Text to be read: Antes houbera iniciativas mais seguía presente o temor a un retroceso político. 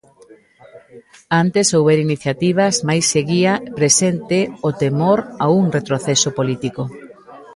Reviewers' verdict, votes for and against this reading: rejected, 1, 2